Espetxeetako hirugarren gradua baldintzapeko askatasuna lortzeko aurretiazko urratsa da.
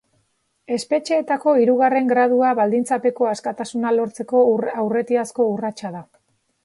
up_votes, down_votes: 1, 3